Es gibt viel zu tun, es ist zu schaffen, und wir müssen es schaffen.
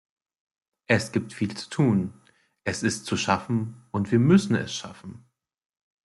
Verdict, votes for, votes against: accepted, 2, 0